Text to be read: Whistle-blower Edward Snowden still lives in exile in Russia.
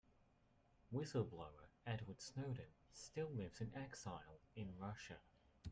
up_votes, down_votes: 2, 0